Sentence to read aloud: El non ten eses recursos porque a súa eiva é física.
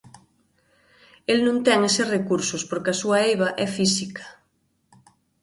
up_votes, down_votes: 2, 0